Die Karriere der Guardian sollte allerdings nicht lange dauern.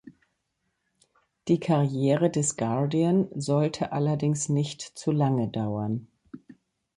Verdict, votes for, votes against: rejected, 0, 2